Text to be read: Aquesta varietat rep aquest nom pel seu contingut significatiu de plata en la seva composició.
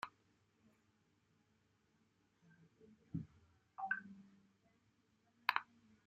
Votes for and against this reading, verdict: 0, 2, rejected